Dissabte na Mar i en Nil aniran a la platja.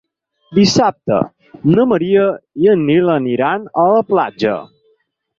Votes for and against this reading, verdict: 0, 4, rejected